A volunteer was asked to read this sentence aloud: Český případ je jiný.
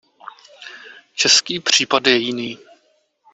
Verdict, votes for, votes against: accepted, 2, 0